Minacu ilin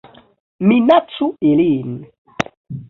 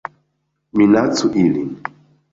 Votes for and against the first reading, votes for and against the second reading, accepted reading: 0, 2, 2, 0, second